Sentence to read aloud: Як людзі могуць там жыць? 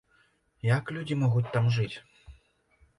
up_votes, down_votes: 2, 0